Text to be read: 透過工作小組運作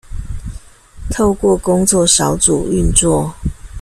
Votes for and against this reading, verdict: 2, 0, accepted